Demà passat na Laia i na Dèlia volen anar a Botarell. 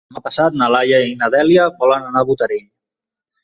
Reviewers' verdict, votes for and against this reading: rejected, 1, 2